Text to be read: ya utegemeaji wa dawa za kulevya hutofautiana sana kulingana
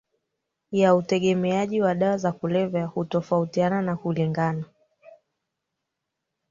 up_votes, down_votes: 0, 2